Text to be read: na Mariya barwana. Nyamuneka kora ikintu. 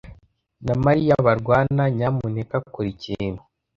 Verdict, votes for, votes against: accepted, 2, 0